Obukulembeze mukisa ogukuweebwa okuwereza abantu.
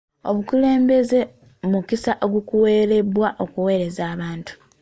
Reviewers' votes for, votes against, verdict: 0, 2, rejected